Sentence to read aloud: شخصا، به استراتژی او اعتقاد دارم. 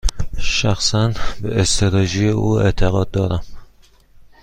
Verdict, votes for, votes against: rejected, 1, 2